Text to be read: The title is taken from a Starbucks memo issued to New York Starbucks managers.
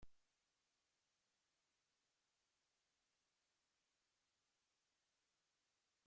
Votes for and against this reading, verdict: 0, 2, rejected